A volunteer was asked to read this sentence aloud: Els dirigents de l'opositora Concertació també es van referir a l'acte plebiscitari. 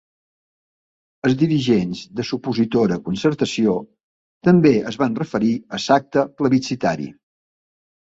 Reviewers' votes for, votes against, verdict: 0, 2, rejected